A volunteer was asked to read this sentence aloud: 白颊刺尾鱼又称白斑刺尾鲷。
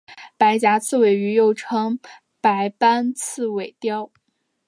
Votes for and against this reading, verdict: 2, 0, accepted